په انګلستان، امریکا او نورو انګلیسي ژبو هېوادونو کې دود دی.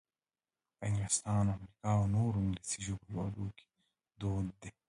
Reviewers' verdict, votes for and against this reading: rejected, 0, 2